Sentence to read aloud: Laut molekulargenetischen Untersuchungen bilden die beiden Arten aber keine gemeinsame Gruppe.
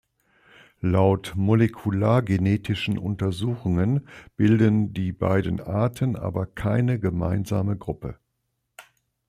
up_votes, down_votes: 2, 0